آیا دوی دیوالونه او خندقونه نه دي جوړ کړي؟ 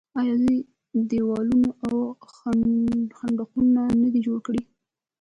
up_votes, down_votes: 1, 2